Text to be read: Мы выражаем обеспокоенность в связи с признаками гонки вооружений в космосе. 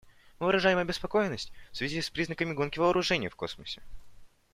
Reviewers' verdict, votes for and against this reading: accepted, 2, 0